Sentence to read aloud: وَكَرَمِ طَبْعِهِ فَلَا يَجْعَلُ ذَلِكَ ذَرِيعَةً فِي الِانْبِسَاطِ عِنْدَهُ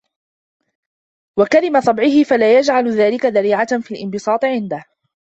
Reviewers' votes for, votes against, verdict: 0, 2, rejected